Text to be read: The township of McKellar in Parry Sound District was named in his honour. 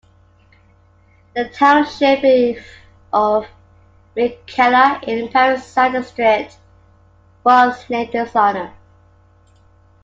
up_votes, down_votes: 2, 1